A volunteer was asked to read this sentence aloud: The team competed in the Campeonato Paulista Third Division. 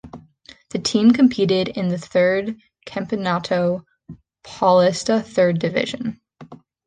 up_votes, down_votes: 0, 2